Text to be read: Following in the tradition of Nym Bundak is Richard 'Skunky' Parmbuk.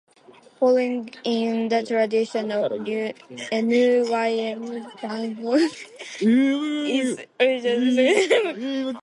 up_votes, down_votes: 0, 2